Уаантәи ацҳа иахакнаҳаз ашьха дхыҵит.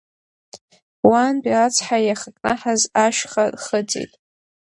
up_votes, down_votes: 1, 2